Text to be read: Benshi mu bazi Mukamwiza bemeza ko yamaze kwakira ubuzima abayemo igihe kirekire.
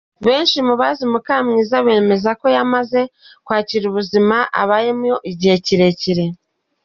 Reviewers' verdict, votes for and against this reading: accepted, 2, 0